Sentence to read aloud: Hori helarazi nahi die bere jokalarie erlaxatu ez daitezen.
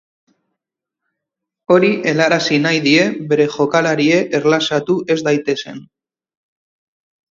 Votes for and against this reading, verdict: 2, 2, rejected